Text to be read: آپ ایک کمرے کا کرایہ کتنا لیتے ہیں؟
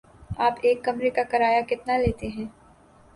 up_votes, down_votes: 2, 0